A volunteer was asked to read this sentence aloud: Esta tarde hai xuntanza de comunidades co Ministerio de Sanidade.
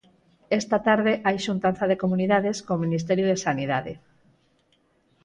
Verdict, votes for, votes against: accepted, 4, 0